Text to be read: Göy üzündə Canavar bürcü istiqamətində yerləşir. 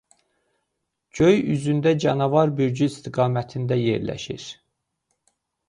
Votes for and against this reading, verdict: 0, 2, rejected